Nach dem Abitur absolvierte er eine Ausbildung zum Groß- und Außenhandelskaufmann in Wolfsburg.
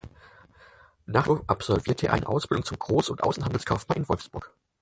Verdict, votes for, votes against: rejected, 0, 4